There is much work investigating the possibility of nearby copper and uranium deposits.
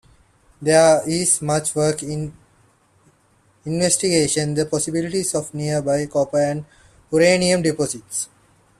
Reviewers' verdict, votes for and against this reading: accepted, 2, 1